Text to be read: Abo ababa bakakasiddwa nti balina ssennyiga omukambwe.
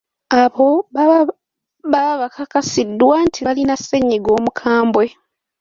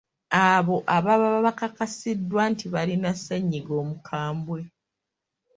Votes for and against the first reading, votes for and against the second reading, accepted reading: 0, 2, 2, 0, second